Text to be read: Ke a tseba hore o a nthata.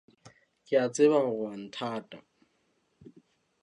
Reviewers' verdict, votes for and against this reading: accepted, 2, 0